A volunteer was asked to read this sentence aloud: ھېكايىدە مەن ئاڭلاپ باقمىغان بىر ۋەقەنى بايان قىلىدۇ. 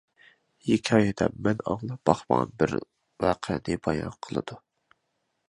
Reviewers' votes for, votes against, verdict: 2, 0, accepted